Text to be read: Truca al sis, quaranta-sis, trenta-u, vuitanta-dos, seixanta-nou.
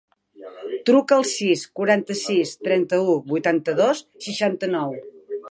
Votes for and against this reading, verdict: 1, 2, rejected